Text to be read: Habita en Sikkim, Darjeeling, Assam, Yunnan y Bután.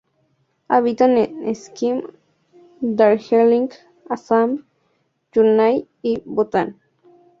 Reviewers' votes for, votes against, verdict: 2, 0, accepted